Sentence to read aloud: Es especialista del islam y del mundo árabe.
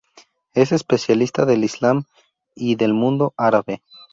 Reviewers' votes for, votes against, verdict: 2, 0, accepted